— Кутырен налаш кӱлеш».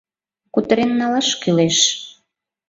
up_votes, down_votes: 2, 0